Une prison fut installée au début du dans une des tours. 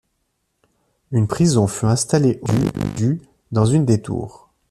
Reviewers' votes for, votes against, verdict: 0, 2, rejected